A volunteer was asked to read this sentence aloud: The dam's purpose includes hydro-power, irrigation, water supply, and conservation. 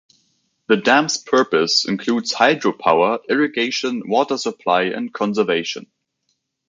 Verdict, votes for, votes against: accepted, 2, 0